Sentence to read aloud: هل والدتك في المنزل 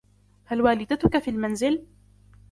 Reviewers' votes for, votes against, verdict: 2, 0, accepted